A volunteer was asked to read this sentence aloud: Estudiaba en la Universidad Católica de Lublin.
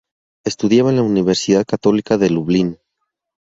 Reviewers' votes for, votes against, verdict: 2, 0, accepted